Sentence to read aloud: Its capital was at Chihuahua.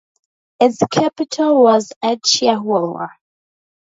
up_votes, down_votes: 0, 2